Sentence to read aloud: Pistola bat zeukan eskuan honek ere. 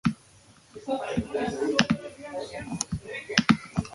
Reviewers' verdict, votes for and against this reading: rejected, 0, 4